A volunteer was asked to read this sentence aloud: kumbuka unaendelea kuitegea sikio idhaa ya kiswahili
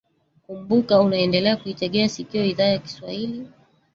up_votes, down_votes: 1, 2